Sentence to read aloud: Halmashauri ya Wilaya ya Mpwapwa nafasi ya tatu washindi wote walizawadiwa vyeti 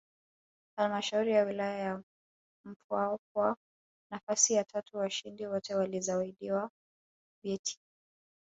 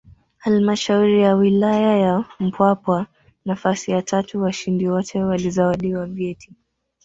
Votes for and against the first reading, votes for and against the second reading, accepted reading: 1, 2, 3, 0, second